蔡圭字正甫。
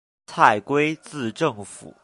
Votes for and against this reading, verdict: 0, 2, rejected